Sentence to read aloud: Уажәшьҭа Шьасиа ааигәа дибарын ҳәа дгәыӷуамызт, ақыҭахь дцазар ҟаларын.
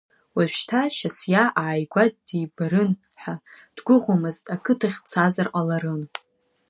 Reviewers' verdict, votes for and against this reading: accepted, 2, 1